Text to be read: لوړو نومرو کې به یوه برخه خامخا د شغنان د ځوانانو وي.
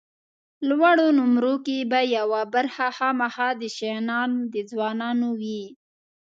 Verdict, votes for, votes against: accepted, 2, 1